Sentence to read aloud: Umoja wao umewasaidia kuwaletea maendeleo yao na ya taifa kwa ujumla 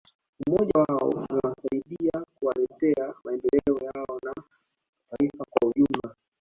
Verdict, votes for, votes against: accepted, 2, 1